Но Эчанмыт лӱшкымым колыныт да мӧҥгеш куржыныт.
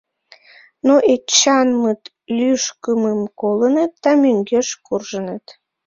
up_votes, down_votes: 1, 2